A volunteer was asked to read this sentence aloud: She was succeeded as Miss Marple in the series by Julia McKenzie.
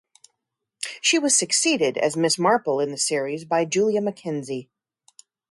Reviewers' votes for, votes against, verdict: 2, 0, accepted